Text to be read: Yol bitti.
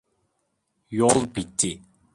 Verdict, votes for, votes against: accepted, 2, 0